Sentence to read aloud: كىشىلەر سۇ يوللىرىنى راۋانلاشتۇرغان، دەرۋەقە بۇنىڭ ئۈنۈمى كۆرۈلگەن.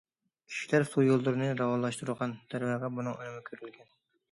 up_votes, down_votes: 2, 0